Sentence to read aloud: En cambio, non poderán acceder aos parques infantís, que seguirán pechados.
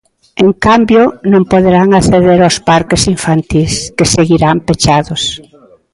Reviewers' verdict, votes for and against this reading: rejected, 1, 2